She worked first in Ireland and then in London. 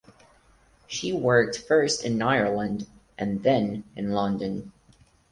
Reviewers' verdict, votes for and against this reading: accepted, 4, 0